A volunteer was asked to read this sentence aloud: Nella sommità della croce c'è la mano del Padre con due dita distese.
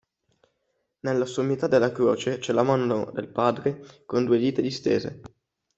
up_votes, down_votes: 1, 2